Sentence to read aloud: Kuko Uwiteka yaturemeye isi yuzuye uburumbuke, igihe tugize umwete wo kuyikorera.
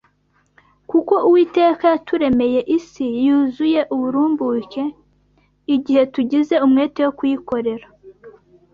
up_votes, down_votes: 2, 0